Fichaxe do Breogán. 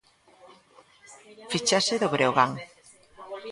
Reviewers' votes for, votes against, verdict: 1, 2, rejected